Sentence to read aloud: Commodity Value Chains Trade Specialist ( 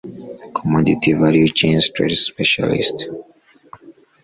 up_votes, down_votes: 1, 2